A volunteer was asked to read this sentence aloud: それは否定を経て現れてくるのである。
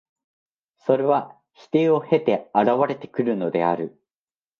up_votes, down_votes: 2, 0